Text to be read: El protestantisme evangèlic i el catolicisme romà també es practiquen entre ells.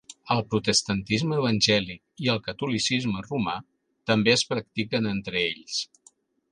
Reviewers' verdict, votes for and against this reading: accepted, 3, 0